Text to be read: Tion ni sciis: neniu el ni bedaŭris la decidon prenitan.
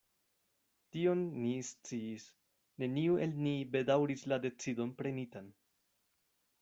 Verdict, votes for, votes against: accepted, 2, 0